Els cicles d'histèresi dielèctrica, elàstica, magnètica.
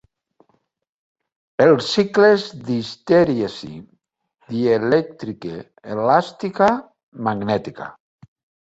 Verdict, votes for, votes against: rejected, 0, 2